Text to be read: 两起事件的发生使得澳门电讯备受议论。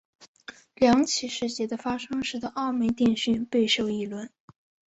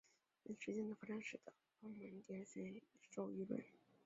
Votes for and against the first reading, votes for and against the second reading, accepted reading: 2, 0, 0, 2, first